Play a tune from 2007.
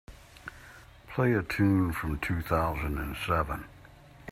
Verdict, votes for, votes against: rejected, 0, 2